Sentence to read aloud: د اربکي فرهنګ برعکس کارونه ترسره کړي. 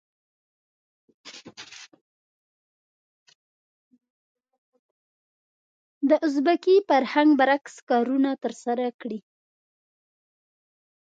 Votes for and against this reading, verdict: 0, 2, rejected